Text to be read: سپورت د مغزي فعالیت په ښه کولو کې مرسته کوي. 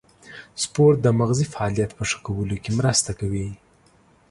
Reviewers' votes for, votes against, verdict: 2, 0, accepted